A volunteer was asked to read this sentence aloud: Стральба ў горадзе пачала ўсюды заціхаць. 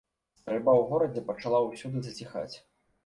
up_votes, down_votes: 2, 3